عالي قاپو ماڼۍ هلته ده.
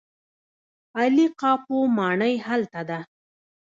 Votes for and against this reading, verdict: 0, 2, rejected